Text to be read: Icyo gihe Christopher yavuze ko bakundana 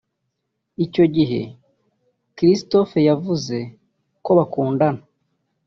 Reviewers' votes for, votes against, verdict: 2, 0, accepted